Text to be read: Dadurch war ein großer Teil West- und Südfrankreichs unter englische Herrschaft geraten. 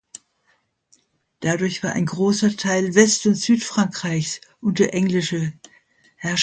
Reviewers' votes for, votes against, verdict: 0, 2, rejected